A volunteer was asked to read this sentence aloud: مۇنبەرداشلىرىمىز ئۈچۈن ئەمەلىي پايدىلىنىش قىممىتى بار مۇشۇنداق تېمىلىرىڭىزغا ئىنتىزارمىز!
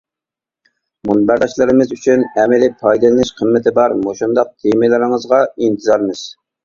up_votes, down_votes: 2, 0